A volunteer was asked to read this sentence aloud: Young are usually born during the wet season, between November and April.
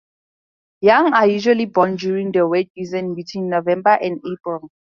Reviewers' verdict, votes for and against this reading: accepted, 4, 0